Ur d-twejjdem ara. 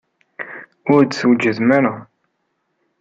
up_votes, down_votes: 1, 2